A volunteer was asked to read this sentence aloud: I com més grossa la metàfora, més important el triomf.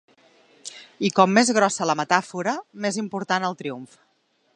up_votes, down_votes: 3, 0